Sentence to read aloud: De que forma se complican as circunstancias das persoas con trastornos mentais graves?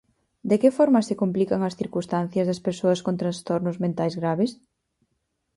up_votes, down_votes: 4, 0